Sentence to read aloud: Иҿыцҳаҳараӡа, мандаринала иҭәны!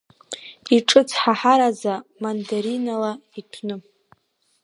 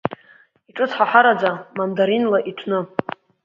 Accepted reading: first